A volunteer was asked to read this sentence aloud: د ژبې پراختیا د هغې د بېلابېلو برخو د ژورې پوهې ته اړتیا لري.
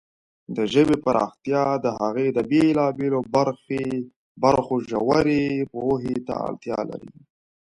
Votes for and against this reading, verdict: 2, 1, accepted